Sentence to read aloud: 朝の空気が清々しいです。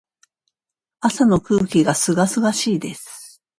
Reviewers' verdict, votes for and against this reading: accepted, 2, 0